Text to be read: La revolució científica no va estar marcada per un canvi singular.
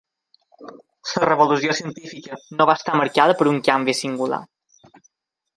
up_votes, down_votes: 0, 2